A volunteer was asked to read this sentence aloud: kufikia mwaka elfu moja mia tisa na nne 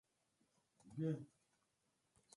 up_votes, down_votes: 0, 2